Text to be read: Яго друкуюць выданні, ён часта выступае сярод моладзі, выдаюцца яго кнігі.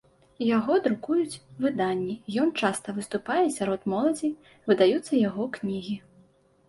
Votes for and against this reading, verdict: 2, 0, accepted